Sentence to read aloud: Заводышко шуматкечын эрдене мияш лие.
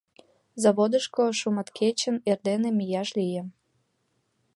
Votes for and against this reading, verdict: 2, 0, accepted